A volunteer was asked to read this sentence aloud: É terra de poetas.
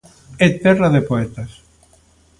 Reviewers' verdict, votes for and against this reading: accepted, 2, 0